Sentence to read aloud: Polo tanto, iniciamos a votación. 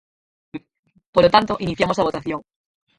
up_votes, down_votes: 2, 4